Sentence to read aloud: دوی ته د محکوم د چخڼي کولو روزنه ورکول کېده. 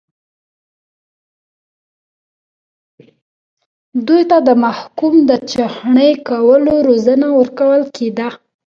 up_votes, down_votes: 0, 2